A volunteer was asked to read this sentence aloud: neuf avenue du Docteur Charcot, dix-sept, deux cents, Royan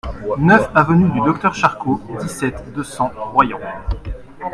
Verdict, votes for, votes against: accepted, 2, 1